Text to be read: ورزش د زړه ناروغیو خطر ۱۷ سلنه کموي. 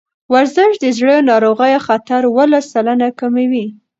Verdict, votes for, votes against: rejected, 0, 2